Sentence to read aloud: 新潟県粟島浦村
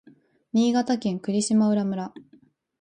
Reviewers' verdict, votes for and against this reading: accepted, 2, 0